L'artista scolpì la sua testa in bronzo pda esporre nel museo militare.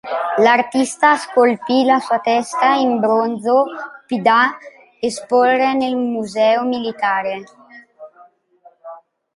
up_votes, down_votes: 1, 2